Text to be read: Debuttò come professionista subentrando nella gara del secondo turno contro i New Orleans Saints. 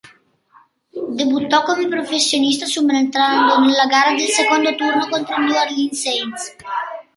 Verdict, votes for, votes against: rejected, 0, 2